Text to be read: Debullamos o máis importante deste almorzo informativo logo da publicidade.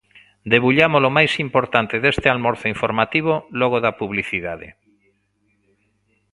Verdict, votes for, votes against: accepted, 2, 0